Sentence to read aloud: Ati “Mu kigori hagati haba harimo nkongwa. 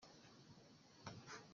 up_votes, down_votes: 0, 2